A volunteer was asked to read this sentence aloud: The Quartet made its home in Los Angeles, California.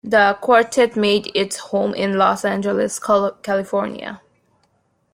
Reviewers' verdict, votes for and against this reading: rejected, 0, 2